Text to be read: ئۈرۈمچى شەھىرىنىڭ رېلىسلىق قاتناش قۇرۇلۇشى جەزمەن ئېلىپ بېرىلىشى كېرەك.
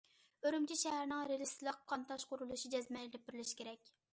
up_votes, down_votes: 0, 2